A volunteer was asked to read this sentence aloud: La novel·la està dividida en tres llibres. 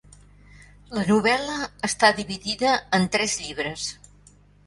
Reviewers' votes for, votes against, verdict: 3, 0, accepted